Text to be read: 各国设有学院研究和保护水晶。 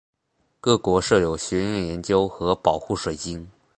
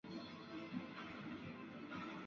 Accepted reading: first